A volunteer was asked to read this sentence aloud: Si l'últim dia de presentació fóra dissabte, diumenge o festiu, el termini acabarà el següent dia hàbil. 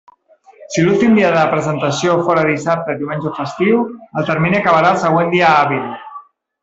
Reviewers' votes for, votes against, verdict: 1, 2, rejected